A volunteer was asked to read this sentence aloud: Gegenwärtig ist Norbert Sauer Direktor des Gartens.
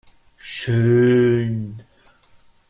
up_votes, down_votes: 0, 2